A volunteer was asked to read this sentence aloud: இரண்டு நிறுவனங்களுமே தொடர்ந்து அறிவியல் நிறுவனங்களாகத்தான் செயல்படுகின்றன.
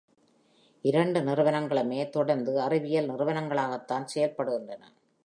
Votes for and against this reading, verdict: 2, 0, accepted